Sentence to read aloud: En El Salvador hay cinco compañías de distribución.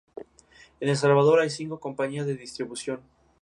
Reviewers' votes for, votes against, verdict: 4, 0, accepted